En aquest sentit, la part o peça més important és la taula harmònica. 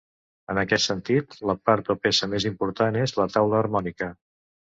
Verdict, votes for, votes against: accepted, 2, 0